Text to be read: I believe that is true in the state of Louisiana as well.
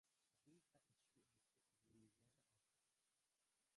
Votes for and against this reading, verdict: 0, 3, rejected